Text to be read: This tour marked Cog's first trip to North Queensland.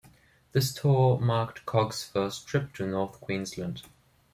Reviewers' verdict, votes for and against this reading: accepted, 2, 0